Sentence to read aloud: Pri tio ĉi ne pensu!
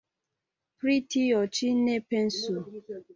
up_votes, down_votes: 2, 0